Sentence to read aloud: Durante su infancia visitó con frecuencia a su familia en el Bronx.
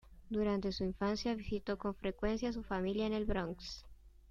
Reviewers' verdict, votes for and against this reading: accepted, 2, 0